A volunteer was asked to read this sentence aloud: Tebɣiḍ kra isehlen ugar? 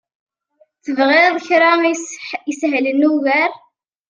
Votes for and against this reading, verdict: 0, 2, rejected